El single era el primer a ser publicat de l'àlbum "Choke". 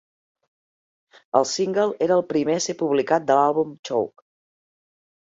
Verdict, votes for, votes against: accepted, 4, 0